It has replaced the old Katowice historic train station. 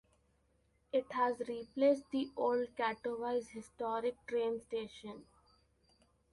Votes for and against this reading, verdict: 2, 1, accepted